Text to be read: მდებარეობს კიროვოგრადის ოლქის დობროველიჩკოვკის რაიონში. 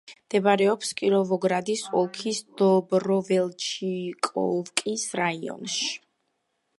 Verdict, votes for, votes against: rejected, 1, 2